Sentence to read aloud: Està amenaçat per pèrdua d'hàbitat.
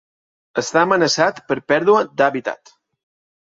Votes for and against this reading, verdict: 2, 0, accepted